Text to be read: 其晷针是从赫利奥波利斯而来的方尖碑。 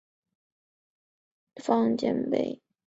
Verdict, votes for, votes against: rejected, 0, 2